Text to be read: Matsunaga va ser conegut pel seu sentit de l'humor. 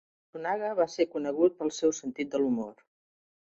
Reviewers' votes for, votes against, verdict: 2, 1, accepted